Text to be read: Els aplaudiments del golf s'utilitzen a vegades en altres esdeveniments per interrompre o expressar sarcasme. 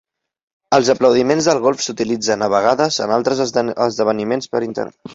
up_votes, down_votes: 0, 2